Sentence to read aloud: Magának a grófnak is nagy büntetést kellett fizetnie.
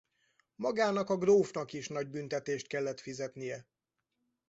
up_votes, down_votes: 4, 0